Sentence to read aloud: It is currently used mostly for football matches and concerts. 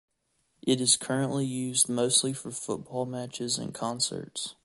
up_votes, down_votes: 2, 0